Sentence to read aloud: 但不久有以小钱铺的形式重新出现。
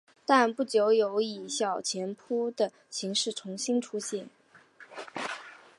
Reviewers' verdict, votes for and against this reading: accepted, 3, 0